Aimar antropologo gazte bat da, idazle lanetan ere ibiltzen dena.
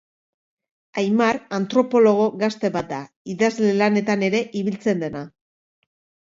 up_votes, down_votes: 3, 1